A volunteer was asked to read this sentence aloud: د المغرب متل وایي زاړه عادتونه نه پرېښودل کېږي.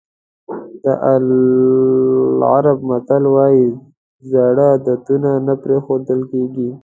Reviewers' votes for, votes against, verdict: 0, 2, rejected